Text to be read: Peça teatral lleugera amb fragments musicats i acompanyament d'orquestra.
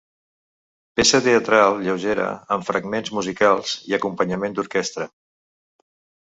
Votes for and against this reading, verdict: 1, 2, rejected